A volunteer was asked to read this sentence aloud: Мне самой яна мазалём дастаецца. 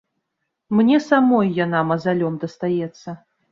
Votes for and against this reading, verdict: 2, 0, accepted